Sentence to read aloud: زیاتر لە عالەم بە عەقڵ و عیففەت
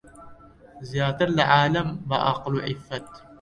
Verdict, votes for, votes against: accepted, 2, 0